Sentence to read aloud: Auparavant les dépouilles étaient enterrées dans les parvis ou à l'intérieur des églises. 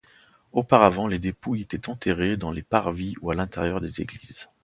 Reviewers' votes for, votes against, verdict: 2, 0, accepted